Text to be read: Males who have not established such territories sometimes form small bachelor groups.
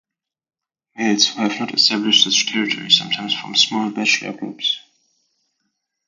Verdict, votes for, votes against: rejected, 1, 2